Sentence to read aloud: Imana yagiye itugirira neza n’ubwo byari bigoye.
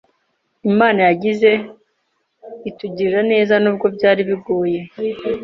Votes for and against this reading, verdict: 0, 2, rejected